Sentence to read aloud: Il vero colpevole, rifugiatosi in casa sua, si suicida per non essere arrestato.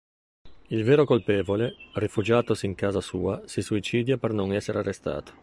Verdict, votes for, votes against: rejected, 0, 2